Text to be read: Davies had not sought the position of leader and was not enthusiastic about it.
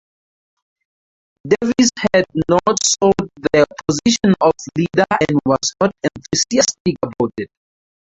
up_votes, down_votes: 0, 4